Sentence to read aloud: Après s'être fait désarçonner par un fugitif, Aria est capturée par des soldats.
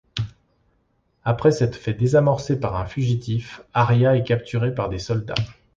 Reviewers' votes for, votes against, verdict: 0, 2, rejected